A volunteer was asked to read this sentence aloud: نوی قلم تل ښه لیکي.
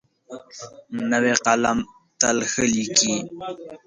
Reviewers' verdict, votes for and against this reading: accepted, 5, 0